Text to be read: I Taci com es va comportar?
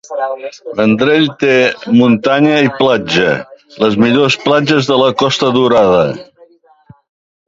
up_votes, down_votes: 1, 2